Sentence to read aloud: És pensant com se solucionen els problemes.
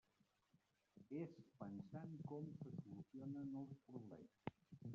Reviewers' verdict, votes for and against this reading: rejected, 1, 2